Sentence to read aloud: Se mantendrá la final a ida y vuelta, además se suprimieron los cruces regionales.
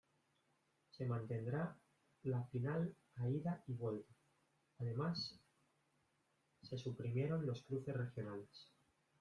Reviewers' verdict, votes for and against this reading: rejected, 1, 2